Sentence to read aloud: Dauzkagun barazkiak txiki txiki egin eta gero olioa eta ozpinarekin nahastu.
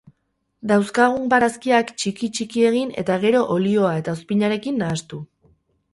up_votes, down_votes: 4, 2